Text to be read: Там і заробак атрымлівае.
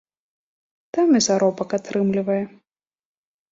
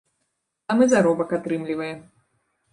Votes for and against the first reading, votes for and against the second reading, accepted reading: 2, 0, 0, 2, first